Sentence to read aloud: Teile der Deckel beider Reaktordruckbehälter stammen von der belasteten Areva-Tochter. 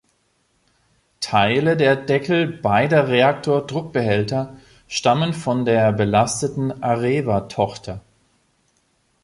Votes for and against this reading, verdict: 2, 0, accepted